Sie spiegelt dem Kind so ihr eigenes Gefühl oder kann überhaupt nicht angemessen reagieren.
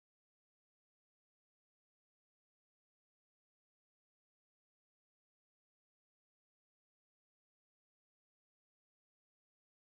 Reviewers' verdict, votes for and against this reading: rejected, 0, 2